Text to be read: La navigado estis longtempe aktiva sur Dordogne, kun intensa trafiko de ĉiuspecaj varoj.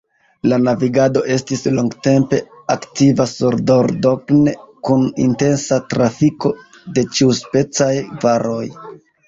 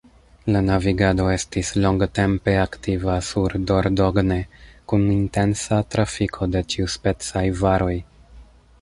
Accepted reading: first